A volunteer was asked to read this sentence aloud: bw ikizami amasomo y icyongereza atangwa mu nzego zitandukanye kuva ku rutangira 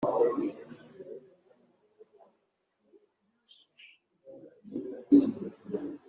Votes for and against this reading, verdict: 0, 2, rejected